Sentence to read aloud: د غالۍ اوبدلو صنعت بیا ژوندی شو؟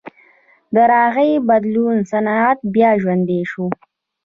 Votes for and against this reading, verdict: 0, 2, rejected